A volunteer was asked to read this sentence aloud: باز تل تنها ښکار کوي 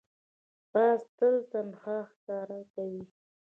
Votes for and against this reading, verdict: 0, 2, rejected